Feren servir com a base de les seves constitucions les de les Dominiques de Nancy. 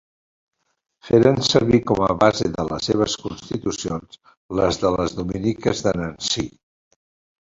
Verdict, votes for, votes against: accepted, 3, 1